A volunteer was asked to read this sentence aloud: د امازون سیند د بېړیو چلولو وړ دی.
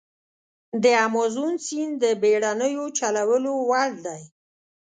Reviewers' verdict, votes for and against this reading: rejected, 3, 4